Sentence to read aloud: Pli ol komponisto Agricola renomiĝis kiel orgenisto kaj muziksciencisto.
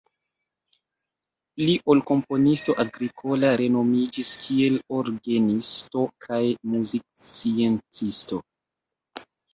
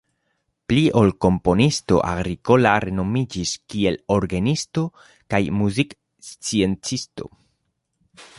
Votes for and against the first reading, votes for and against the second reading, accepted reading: 0, 2, 2, 0, second